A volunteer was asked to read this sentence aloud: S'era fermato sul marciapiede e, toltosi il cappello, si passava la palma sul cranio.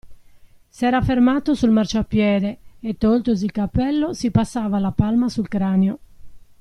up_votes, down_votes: 2, 0